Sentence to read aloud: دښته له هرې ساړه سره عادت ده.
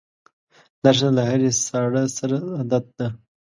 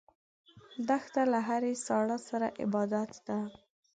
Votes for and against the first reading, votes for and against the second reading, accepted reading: 2, 0, 1, 2, first